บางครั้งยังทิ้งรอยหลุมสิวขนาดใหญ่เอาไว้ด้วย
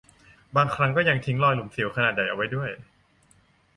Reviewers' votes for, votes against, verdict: 0, 2, rejected